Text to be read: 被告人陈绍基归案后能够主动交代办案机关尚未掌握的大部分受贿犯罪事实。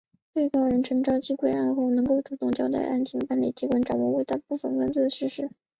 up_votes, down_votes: 0, 3